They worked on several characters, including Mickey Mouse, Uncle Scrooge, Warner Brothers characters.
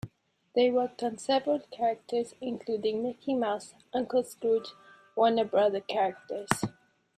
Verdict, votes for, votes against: rejected, 0, 2